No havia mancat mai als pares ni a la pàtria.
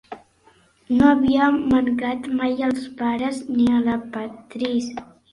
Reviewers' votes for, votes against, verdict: 0, 2, rejected